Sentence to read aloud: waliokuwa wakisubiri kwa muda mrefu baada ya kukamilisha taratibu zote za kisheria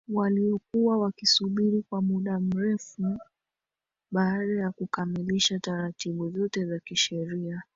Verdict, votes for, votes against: rejected, 0, 2